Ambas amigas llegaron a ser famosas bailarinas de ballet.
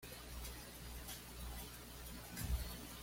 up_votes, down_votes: 1, 2